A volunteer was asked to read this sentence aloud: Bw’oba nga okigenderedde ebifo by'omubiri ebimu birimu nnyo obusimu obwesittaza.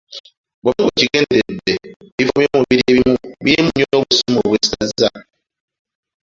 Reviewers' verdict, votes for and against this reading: rejected, 1, 2